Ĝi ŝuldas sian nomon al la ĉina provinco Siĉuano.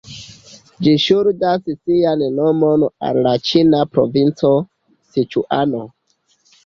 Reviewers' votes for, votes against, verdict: 2, 1, accepted